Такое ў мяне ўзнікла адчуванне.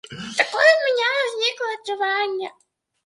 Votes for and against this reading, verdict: 1, 2, rejected